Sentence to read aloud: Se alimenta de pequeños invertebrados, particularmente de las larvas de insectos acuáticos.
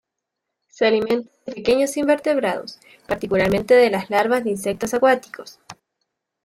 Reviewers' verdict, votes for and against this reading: rejected, 1, 2